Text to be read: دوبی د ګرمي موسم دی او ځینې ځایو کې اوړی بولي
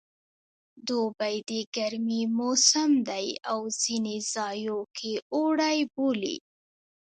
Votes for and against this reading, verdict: 2, 0, accepted